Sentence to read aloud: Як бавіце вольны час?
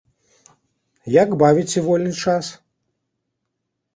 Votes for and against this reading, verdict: 2, 0, accepted